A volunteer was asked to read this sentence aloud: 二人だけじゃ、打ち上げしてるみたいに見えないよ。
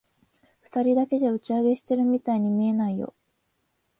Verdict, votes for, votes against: accepted, 10, 0